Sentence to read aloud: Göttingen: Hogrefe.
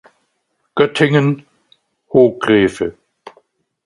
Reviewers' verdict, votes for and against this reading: accepted, 2, 0